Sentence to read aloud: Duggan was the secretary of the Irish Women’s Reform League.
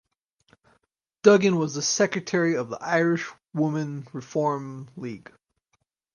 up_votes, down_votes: 2, 4